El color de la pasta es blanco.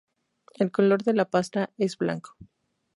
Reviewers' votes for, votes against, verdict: 4, 0, accepted